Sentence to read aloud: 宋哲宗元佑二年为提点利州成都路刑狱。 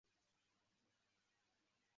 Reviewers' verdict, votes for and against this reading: rejected, 0, 2